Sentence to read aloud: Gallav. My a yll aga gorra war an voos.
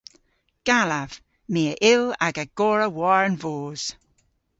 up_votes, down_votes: 2, 0